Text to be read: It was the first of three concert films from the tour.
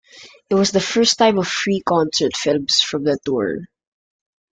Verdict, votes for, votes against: rejected, 0, 2